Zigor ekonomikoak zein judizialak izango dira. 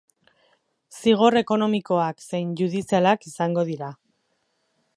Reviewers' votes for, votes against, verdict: 2, 2, rejected